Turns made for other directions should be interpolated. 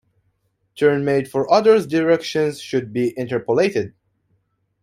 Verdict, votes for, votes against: rejected, 1, 2